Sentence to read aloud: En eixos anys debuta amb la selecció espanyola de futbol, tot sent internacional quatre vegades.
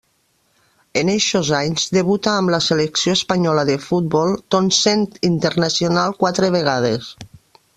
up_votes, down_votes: 0, 2